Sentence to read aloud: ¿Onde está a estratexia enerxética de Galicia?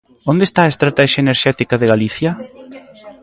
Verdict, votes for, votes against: rejected, 0, 2